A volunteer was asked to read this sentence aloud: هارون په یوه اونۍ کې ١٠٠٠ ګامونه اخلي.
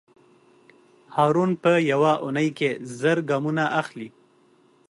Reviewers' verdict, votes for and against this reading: rejected, 0, 2